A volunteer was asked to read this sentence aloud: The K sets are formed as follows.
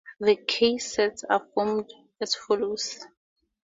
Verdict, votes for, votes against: accepted, 2, 0